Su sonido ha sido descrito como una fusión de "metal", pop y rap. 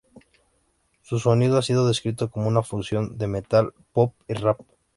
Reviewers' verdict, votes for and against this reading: accepted, 2, 0